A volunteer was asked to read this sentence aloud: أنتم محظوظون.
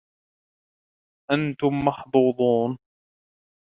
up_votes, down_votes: 2, 0